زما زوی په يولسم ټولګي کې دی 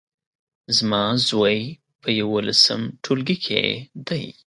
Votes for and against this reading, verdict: 2, 0, accepted